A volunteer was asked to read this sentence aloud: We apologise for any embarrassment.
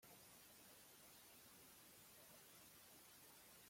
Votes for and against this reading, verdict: 0, 2, rejected